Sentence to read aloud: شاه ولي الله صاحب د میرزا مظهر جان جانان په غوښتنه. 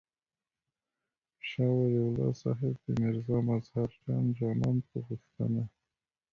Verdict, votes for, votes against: rejected, 0, 2